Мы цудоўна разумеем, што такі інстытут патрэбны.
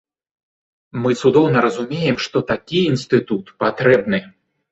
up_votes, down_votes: 2, 0